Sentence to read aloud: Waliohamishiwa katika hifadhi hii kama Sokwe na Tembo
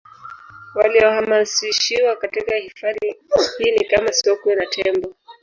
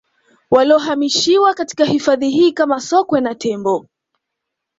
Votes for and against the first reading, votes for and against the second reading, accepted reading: 1, 2, 2, 0, second